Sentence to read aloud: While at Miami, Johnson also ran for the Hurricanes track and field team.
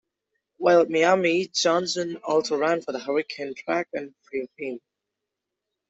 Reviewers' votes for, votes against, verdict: 2, 0, accepted